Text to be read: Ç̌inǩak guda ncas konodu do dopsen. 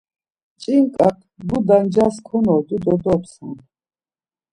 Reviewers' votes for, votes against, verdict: 1, 2, rejected